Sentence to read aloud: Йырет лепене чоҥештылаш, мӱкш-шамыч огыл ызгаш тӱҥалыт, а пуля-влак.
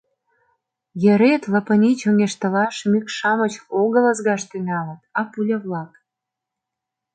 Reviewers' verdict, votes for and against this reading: rejected, 0, 2